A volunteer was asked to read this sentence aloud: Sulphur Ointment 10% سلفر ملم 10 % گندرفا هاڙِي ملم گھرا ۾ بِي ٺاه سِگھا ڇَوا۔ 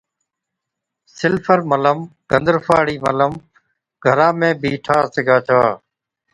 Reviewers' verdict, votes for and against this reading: rejected, 0, 2